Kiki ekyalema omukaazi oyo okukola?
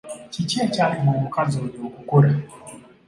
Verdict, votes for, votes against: accepted, 2, 0